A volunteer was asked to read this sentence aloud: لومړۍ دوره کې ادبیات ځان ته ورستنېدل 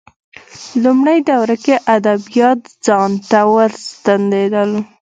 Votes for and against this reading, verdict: 1, 2, rejected